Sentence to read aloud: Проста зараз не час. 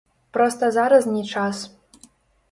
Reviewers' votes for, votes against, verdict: 0, 2, rejected